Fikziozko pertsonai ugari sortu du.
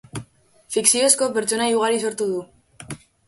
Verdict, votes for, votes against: accepted, 3, 0